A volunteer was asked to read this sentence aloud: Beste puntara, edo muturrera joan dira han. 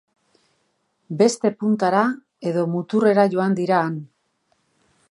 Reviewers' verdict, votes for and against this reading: accepted, 3, 0